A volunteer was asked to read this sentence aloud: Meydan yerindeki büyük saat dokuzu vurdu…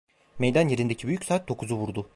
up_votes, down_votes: 1, 2